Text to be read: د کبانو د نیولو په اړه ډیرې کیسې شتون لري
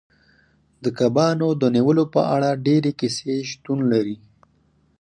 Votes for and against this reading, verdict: 4, 2, accepted